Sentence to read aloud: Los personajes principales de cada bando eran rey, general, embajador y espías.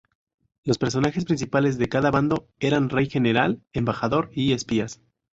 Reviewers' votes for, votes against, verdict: 2, 2, rejected